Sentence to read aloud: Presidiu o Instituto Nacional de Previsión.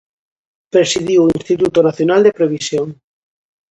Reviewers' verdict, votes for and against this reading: accepted, 2, 0